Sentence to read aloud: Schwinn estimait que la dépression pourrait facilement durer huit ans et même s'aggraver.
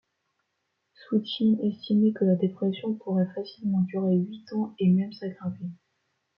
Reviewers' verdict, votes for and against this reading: accepted, 2, 0